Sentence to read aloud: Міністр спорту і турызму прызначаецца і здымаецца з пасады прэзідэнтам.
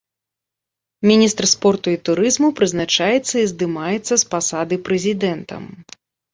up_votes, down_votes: 2, 0